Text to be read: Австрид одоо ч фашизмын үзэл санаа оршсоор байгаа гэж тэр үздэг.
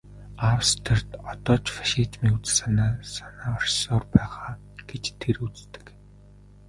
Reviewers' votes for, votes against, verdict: 0, 2, rejected